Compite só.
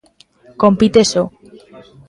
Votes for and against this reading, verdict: 2, 0, accepted